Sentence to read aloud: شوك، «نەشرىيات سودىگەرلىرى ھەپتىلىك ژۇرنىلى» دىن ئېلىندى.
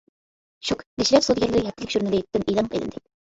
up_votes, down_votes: 0, 2